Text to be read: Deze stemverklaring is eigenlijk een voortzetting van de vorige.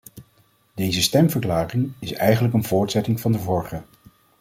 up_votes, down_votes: 2, 0